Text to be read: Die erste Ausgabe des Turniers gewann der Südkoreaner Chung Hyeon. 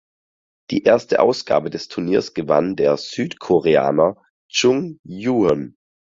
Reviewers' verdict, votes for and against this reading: accepted, 4, 0